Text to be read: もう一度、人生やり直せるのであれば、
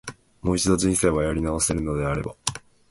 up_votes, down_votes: 3, 0